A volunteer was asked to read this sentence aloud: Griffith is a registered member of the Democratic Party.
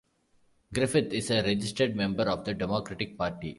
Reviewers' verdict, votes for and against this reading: accepted, 2, 0